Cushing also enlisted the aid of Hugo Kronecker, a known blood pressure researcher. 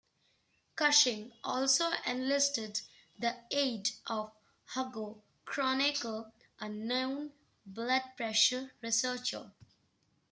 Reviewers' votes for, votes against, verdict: 1, 2, rejected